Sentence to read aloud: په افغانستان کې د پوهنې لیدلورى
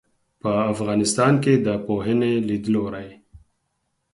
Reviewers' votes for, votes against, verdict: 4, 0, accepted